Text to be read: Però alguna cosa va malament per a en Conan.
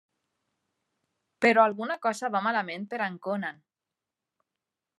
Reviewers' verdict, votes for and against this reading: accepted, 3, 1